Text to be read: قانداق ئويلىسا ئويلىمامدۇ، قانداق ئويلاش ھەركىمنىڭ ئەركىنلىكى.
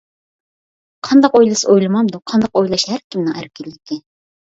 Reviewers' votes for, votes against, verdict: 2, 0, accepted